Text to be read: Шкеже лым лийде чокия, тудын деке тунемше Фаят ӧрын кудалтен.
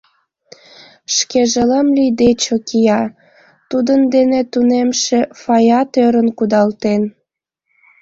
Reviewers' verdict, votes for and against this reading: rejected, 1, 2